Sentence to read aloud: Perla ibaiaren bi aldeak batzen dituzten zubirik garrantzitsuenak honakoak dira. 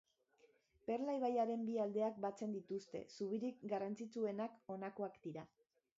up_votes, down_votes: 2, 1